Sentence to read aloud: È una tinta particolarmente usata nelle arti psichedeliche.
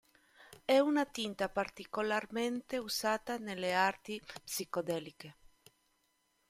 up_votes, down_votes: 1, 2